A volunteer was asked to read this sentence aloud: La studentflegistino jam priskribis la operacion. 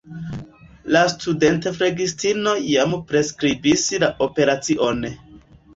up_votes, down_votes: 0, 2